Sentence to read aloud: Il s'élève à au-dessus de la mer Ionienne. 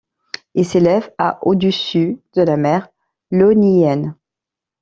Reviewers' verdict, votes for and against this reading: accepted, 2, 0